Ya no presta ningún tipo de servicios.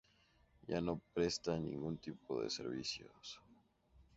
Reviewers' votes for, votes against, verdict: 2, 0, accepted